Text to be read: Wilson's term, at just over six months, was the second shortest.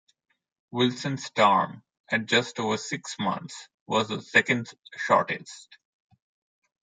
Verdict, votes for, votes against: accepted, 2, 1